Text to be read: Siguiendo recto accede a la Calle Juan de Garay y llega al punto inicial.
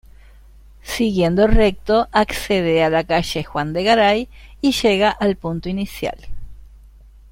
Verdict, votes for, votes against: accepted, 2, 1